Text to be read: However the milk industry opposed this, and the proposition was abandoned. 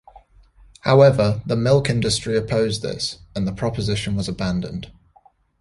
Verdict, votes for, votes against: accepted, 2, 0